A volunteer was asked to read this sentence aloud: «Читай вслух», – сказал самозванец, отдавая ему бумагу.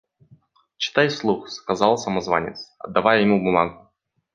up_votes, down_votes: 2, 1